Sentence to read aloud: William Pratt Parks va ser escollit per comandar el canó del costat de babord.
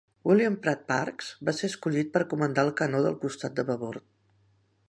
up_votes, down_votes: 3, 0